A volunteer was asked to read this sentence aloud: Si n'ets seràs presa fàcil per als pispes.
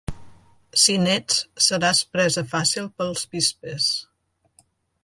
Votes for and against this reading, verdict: 1, 2, rejected